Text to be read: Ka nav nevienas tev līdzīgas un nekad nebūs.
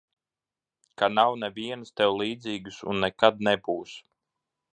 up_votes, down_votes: 2, 1